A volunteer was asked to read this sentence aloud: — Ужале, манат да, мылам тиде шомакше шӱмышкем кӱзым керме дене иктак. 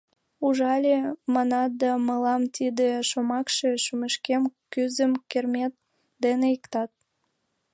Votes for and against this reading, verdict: 1, 2, rejected